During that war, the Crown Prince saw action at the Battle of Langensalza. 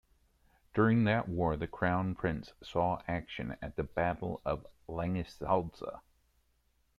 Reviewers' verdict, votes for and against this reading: accepted, 2, 0